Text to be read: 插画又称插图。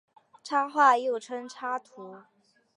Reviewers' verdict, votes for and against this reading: accepted, 2, 0